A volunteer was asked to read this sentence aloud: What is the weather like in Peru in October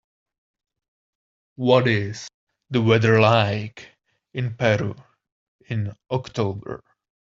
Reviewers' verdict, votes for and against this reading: accepted, 2, 0